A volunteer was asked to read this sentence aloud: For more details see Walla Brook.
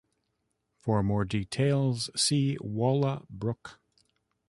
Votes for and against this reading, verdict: 2, 0, accepted